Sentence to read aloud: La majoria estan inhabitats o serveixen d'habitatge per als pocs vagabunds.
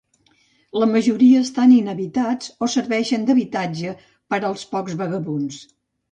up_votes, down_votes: 2, 0